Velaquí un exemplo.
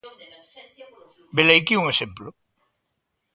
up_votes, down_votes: 0, 2